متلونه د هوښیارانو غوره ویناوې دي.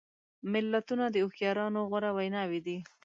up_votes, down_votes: 0, 2